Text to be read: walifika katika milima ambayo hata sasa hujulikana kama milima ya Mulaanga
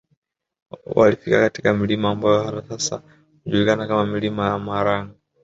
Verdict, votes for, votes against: rejected, 1, 2